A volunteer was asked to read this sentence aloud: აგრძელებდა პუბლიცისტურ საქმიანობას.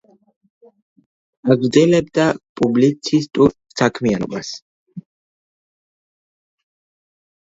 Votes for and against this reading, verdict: 0, 2, rejected